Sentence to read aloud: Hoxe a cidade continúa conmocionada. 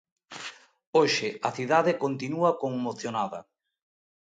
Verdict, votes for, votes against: accepted, 2, 0